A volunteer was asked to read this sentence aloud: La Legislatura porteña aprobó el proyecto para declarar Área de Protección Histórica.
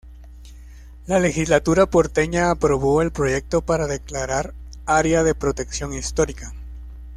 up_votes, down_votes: 2, 0